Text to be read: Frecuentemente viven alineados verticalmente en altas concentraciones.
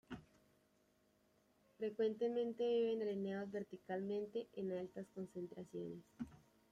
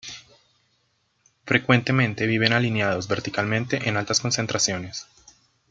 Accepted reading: second